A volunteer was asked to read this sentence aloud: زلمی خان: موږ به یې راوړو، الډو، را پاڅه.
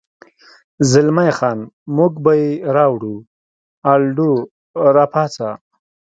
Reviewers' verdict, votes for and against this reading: accepted, 2, 0